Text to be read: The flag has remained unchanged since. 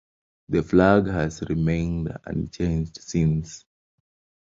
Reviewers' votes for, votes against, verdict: 2, 0, accepted